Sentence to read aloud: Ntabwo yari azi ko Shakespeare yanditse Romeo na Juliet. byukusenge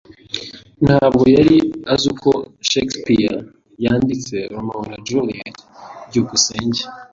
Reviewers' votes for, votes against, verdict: 2, 0, accepted